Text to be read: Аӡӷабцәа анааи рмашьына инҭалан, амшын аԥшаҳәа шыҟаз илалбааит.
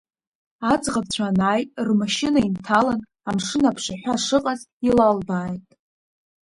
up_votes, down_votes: 2, 0